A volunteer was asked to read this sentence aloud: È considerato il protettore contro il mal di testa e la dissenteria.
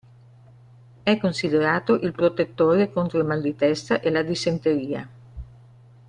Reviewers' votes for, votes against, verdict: 2, 0, accepted